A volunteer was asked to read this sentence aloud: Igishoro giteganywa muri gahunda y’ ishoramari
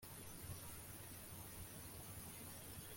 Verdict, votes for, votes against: rejected, 0, 2